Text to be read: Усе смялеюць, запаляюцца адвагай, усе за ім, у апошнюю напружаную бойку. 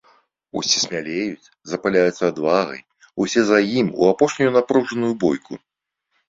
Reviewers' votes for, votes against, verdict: 2, 0, accepted